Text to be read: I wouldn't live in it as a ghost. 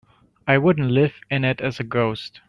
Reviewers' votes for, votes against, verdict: 2, 1, accepted